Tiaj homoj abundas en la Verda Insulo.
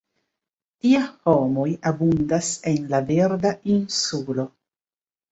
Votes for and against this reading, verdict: 0, 2, rejected